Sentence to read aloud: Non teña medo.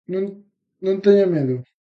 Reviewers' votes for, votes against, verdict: 0, 2, rejected